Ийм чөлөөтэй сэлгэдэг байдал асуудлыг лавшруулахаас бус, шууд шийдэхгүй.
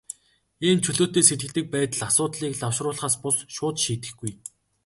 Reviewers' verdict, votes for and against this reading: rejected, 0, 2